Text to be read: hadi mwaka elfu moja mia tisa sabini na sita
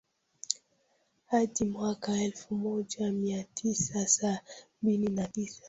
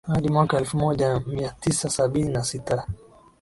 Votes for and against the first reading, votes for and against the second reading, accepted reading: 0, 2, 2, 0, second